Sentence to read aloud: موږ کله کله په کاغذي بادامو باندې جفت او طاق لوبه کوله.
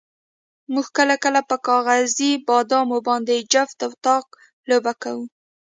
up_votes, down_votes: 2, 0